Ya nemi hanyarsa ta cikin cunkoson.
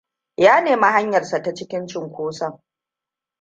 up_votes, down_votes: 1, 2